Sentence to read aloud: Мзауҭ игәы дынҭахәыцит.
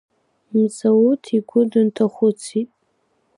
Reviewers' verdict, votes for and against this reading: accepted, 2, 0